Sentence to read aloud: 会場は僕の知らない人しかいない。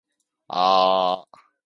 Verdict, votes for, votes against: rejected, 1, 2